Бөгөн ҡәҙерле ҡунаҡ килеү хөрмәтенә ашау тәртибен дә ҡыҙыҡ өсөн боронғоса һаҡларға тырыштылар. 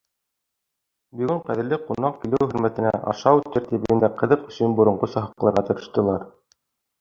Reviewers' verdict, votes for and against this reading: rejected, 1, 2